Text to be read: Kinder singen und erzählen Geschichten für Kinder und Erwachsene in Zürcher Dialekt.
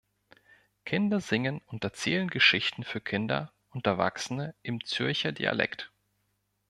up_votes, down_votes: 1, 2